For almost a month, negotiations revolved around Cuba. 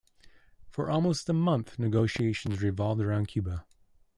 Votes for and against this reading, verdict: 2, 0, accepted